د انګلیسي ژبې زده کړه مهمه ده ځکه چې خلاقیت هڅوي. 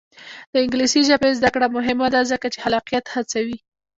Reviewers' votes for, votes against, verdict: 1, 2, rejected